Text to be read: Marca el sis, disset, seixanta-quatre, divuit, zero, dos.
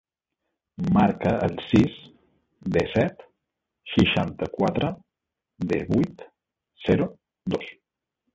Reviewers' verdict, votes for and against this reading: rejected, 0, 2